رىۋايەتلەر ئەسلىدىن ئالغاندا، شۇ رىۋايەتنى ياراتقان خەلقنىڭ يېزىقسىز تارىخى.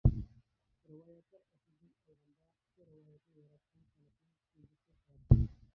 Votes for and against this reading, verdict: 0, 2, rejected